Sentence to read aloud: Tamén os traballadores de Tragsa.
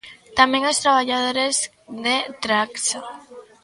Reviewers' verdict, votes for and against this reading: accepted, 2, 0